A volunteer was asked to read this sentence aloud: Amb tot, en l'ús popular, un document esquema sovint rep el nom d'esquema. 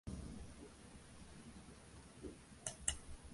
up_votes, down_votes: 0, 3